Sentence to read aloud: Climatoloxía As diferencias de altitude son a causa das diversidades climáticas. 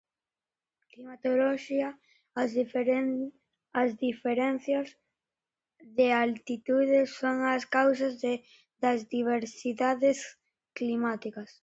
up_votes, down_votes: 0, 2